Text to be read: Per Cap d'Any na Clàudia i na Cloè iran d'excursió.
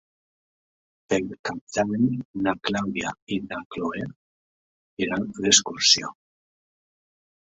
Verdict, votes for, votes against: accepted, 2, 1